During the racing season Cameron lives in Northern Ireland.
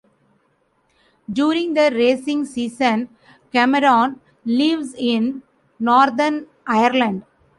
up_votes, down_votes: 1, 2